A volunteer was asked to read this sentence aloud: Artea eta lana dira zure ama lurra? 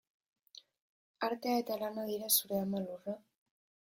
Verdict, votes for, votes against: rejected, 2, 3